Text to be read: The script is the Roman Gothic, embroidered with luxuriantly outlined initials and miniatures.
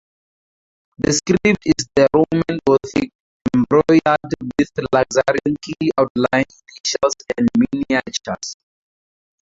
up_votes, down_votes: 0, 2